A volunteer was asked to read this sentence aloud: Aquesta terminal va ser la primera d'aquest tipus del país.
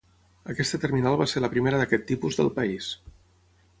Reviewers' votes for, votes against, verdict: 6, 0, accepted